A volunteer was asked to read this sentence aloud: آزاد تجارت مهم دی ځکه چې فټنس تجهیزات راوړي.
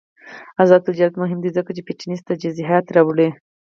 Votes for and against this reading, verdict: 2, 4, rejected